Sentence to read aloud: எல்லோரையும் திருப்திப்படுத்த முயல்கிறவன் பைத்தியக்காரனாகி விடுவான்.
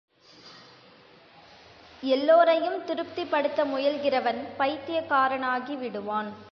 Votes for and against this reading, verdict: 2, 1, accepted